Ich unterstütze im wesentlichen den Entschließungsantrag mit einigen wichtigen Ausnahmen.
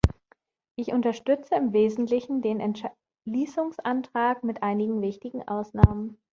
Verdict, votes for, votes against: rejected, 0, 2